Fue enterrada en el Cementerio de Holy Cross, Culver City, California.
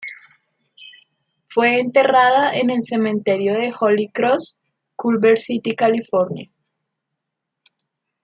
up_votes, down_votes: 2, 0